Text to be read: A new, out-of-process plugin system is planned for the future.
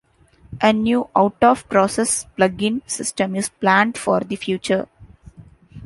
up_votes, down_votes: 2, 0